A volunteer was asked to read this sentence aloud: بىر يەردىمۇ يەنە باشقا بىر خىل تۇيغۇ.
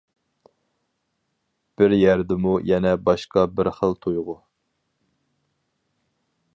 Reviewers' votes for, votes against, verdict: 4, 0, accepted